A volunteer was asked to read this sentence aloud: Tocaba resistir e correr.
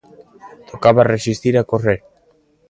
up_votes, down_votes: 2, 0